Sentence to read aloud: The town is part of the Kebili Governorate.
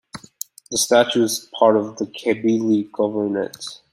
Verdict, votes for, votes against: rejected, 0, 2